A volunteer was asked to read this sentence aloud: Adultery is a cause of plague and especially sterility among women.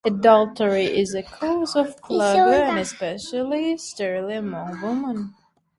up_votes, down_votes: 0, 2